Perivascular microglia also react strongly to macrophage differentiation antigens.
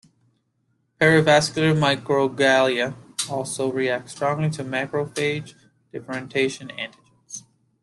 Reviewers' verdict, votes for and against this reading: rejected, 0, 2